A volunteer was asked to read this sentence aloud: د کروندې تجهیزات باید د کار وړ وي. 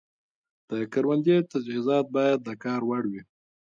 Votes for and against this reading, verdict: 1, 2, rejected